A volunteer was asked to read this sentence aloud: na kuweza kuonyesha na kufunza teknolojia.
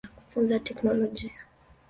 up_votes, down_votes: 1, 2